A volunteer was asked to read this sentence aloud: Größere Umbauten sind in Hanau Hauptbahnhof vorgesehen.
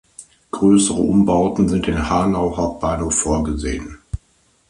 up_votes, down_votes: 2, 0